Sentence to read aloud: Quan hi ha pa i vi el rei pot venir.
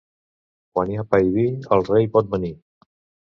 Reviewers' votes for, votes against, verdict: 2, 0, accepted